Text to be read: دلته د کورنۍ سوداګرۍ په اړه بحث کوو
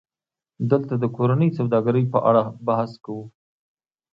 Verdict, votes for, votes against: rejected, 1, 2